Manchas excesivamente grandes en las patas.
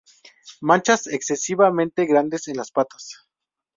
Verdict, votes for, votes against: rejected, 0, 2